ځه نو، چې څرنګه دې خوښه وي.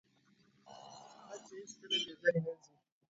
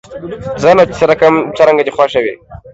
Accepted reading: second